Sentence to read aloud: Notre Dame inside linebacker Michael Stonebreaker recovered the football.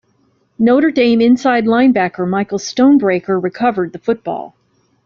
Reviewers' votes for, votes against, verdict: 2, 0, accepted